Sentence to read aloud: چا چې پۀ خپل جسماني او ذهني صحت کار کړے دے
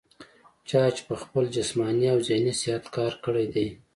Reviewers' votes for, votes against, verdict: 2, 0, accepted